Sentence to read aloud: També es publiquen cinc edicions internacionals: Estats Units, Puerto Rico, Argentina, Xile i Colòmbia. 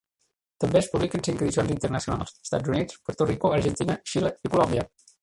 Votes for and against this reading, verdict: 2, 1, accepted